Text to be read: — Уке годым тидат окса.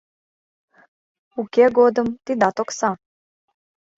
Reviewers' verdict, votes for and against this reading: accepted, 2, 0